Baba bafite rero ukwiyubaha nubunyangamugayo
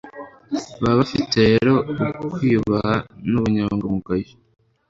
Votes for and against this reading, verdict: 2, 0, accepted